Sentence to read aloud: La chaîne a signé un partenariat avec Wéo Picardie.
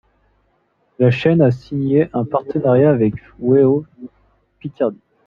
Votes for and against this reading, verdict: 1, 2, rejected